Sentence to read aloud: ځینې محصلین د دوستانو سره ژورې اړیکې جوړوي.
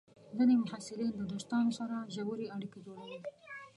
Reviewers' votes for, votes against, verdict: 1, 2, rejected